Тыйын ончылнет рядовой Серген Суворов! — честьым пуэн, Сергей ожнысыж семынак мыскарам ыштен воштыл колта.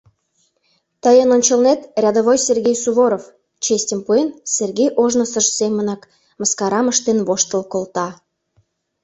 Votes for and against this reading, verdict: 0, 2, rejected